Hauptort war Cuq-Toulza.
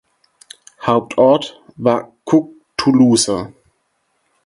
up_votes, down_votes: 2, 4